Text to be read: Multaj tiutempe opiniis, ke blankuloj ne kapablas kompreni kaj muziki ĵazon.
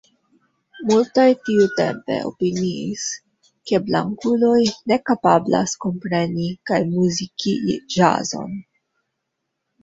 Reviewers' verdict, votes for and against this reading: rejected, 1, 2